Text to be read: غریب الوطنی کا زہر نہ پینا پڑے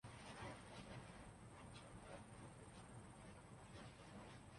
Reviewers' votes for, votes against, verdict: 0, 3, rejected